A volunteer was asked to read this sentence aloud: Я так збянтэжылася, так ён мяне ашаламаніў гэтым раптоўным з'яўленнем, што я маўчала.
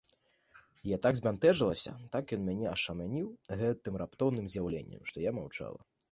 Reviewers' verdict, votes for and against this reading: rejected, 0, 2